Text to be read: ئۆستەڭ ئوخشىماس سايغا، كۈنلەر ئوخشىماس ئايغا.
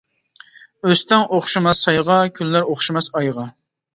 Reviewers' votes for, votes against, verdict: 2, 0, accepted